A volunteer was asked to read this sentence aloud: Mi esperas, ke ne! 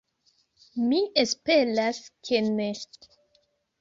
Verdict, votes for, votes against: rejected, 2, 3